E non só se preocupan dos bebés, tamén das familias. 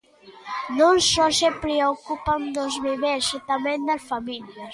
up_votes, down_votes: 0, 2